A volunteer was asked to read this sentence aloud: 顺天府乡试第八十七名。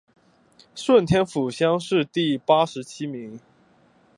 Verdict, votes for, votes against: accepted, 3, 0